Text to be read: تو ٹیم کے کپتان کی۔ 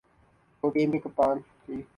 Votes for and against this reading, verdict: 16, 2, accepted